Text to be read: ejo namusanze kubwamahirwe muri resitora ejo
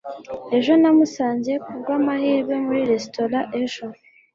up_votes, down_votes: 2, 0